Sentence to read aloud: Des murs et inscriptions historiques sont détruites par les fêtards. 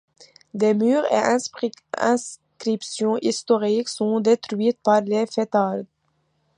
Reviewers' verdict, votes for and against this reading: rejected, 0, 2